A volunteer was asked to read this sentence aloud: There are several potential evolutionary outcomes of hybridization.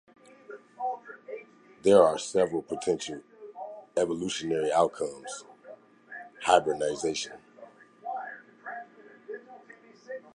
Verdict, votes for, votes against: rejected, 1, 2